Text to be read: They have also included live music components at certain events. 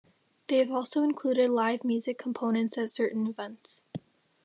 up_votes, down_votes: 2, 0